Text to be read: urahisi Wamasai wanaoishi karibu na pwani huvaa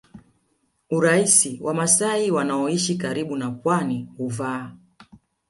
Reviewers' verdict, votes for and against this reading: rejected, 1, 2